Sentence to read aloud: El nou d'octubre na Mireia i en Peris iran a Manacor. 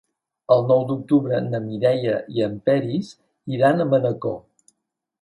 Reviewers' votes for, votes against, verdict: 4, 0, accepted